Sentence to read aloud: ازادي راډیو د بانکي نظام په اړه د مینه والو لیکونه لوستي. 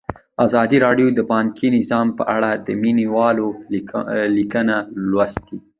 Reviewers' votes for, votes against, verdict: 1, 2, rejected